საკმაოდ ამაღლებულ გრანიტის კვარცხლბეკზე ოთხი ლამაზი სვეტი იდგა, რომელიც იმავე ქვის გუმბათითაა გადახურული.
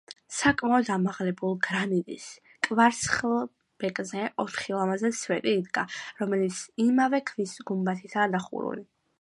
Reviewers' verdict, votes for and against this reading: rejected, 0, 2